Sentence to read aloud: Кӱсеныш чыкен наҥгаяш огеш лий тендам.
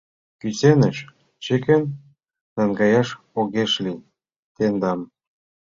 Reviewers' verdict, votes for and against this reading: rejected, 0, 2